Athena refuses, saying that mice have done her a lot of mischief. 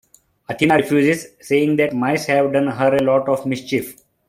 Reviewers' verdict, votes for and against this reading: accepted, 2, 0